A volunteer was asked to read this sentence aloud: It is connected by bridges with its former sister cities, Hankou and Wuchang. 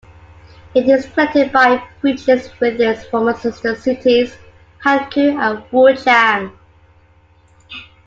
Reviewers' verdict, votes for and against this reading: accepted, 2, 1